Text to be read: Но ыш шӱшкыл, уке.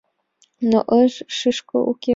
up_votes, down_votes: 2, 3